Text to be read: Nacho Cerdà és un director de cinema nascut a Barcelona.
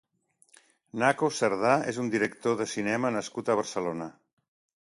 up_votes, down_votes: 1, 2